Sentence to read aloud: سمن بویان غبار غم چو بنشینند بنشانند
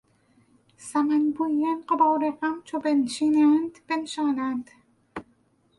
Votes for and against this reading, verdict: 2, 4, rejected